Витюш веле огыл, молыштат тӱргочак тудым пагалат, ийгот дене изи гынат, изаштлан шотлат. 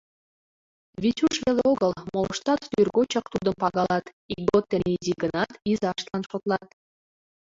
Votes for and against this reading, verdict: 2, 0, accepted